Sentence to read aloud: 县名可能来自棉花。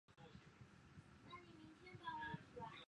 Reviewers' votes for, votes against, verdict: 0, 5, rejected